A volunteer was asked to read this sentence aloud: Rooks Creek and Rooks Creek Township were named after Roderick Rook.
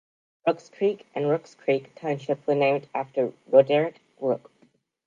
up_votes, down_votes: 2, 0